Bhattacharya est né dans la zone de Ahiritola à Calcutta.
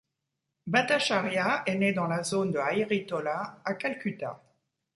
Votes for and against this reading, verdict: 2, 0, accepted